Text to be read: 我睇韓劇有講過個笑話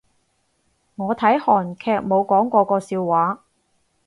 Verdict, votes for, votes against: rejected, 0, 4